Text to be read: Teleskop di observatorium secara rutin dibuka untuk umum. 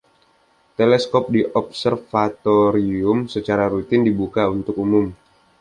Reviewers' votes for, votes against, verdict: 2, 0, accepted